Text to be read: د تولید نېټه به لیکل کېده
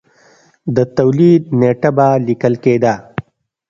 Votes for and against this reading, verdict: 3, 0, accepted